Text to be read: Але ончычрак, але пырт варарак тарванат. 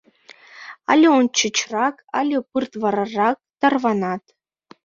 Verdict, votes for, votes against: rejected, 0, 2